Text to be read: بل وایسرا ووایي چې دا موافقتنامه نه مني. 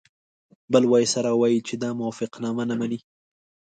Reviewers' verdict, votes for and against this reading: accepted, 2, 0